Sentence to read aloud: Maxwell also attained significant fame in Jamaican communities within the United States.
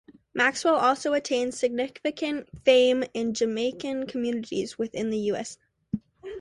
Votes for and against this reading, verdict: 0, 2, rejected